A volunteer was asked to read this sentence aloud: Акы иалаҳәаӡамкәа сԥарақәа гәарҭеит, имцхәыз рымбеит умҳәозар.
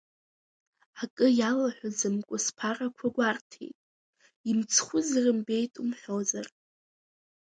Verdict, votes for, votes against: accepted, 2, 0